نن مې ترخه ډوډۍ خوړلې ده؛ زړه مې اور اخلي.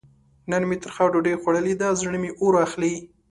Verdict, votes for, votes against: accepted, 2, 0